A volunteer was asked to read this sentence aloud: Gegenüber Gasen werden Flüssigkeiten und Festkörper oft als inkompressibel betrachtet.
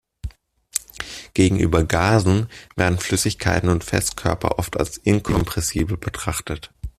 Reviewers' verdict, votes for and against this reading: accepted, 2, 0